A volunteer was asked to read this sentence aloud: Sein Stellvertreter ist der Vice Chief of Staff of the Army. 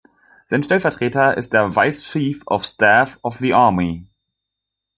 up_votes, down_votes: 2, 0